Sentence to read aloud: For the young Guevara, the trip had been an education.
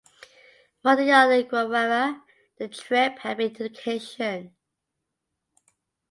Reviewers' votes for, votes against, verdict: 0, 2, rejected